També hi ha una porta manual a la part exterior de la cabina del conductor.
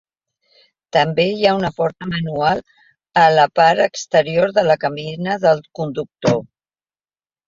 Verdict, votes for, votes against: accepted, 2, 1